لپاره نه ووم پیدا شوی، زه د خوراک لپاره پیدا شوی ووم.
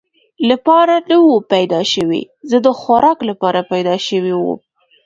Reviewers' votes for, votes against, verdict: 2, 0, accepted